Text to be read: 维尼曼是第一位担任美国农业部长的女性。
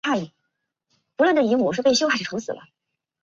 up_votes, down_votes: 0, 3